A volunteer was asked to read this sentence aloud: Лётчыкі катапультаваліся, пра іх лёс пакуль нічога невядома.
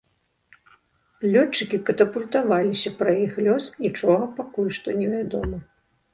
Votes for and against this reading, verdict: 0, 2, rejected